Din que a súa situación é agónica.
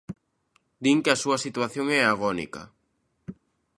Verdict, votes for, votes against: accepted, 2, 0